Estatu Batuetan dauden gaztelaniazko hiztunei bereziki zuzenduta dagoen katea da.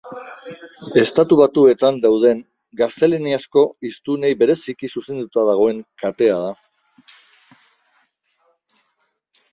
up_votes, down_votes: 2, 0